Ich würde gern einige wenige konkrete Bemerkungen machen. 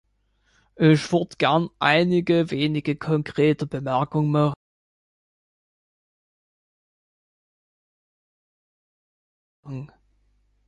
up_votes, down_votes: 1, 2